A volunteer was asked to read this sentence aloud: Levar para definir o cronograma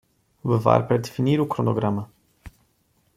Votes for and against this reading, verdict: 2, 0, accepted